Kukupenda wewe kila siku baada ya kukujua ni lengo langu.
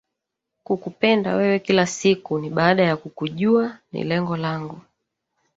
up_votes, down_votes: 1, 2